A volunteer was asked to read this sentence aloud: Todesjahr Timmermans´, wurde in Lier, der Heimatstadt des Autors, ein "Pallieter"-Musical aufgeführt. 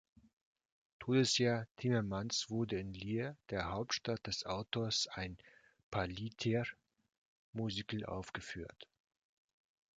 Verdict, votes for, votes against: rejected, 1, 2